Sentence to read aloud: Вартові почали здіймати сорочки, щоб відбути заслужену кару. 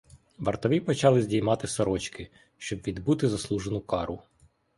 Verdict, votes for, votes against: accepted, 2, 0